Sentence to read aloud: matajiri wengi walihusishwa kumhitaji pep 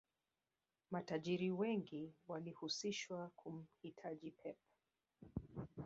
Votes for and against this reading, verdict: 0, 2, rejected